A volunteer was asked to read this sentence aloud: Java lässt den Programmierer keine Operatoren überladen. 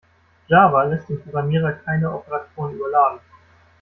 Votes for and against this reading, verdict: 0, 2, rejected